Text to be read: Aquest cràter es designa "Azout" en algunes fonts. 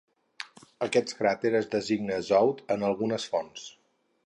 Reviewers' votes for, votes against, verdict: 4, 0, accepted